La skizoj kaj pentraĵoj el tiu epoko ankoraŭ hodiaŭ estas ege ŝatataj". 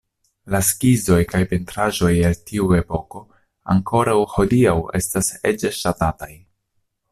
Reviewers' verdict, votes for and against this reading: accepted, 2, 1